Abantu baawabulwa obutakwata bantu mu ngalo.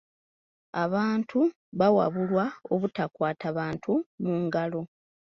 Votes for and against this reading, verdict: 0, 2, rejected